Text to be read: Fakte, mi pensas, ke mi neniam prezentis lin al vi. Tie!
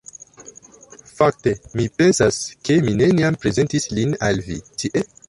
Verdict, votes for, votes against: rejected, 1, 2